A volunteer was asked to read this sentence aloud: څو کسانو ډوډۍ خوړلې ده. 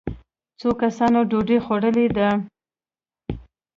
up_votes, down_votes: 1, 2